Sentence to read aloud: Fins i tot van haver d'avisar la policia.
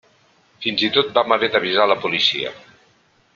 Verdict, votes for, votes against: rejected, 0, 2